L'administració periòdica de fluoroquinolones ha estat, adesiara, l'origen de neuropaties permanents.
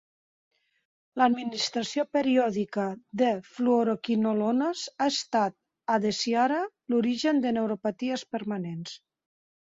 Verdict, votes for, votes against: accepted, 2, 1